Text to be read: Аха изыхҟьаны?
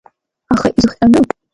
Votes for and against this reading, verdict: 2, 0, accepted